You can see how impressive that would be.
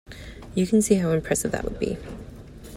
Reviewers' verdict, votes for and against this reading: accepted, 2, 0